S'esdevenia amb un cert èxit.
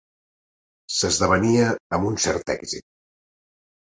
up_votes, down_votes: 4, 0